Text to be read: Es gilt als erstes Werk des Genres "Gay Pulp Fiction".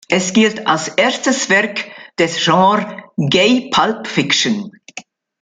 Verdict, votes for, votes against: rejected, 1, 2